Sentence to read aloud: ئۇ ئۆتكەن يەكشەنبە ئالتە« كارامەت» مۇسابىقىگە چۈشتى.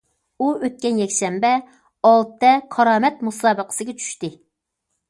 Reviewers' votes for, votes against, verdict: 0, 2, rejected